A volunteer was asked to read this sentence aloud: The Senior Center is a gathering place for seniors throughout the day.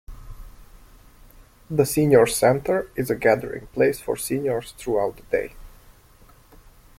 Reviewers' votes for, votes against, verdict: 2, 0, accepted